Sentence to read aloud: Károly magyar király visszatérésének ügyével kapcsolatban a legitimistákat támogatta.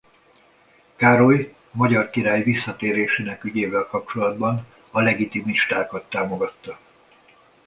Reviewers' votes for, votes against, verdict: 2, 1, accepted